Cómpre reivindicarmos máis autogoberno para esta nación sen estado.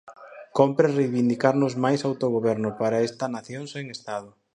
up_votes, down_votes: 2, 4